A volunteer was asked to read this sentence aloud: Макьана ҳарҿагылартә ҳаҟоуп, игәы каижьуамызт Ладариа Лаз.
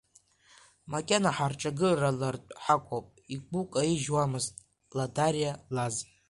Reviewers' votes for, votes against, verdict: 2, 1, accepted